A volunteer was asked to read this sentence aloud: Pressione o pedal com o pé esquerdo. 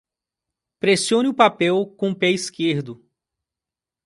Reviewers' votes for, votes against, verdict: 0, 3, rejected